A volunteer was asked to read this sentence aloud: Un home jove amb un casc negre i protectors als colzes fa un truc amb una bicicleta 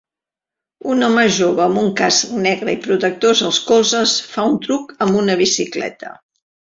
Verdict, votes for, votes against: accepted, 2, 0